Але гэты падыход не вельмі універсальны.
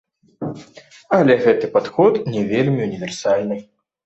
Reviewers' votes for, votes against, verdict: 0, 2, rejected